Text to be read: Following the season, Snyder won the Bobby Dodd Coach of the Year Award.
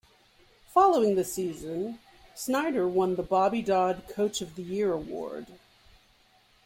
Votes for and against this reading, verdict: 2, 0, accepted